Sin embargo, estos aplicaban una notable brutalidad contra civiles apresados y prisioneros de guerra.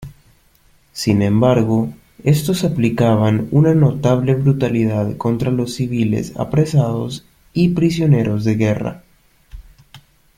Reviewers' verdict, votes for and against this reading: rejected, 1, 2